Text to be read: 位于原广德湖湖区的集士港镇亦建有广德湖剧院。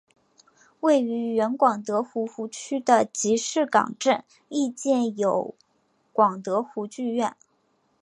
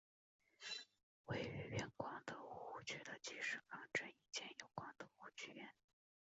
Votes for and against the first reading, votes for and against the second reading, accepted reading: 5, 1, 2, 2, first